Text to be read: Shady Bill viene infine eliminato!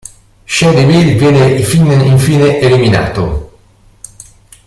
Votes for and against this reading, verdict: 0, 2, rejected